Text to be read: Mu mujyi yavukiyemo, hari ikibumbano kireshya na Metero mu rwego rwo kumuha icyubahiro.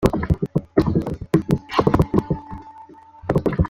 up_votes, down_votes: 0, 2